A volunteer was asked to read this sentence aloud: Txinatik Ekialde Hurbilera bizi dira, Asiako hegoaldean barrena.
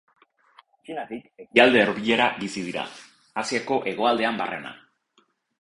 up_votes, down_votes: 0, 2